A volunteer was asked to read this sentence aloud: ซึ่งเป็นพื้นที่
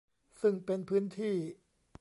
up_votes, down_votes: 2, 0